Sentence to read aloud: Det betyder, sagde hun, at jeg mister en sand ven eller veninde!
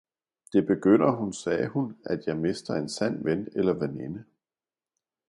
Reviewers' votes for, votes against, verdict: 0, 2, rejected